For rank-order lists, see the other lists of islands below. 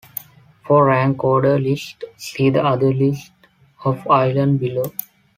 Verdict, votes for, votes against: rejected, 0, 2